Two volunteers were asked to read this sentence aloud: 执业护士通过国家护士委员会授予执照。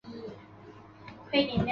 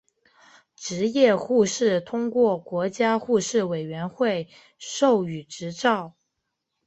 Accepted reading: second